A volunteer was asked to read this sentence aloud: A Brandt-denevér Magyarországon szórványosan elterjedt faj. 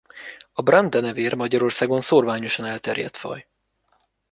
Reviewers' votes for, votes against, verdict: 2, 0, accepted